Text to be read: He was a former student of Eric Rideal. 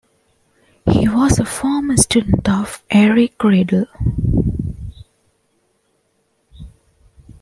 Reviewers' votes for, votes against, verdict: 2, 1, accepted